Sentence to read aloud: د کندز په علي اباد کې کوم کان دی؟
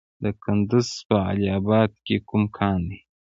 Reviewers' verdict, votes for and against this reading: accepted, 2, 1